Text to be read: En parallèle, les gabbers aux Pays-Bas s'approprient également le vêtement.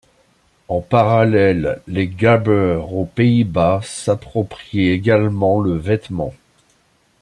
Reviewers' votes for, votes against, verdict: 1, 2, rejected